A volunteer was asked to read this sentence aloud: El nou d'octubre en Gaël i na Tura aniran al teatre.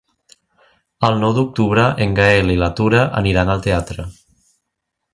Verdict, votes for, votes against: rejected, 0, 2